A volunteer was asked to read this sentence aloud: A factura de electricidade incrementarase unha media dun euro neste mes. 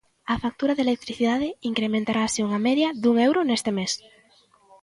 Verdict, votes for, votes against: accepted, 2, 0